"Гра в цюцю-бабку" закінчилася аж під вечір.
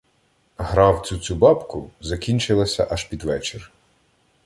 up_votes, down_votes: 1, 2